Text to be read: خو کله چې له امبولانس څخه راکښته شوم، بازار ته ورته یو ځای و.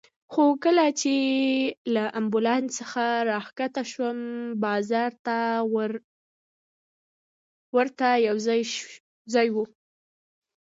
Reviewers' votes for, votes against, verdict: 2, 0, accepted